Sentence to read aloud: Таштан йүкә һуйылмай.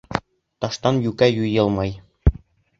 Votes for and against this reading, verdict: 0, 2, rejected